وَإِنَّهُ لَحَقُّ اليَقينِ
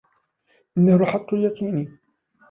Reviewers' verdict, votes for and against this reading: rejected, 1, 2